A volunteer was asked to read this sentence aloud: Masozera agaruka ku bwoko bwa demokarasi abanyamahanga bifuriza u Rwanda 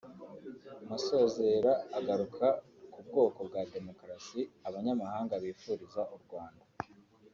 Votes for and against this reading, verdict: 3, 0, accepted